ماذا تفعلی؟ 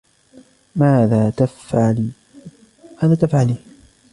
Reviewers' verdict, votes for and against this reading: rejected, 0, 2